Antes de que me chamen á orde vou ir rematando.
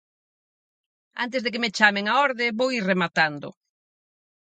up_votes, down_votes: 4, 0